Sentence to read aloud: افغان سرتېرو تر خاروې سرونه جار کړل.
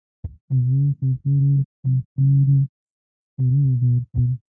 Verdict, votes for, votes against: rejected, 0, 2